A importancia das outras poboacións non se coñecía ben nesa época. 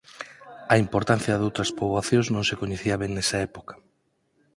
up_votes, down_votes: 0, 4